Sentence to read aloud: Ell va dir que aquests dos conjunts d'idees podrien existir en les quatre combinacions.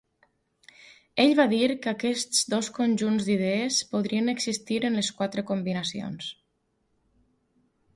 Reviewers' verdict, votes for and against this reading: accepted, 4, 0